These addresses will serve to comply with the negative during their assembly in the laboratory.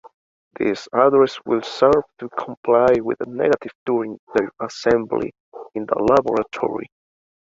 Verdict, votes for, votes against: accepted, 2, 0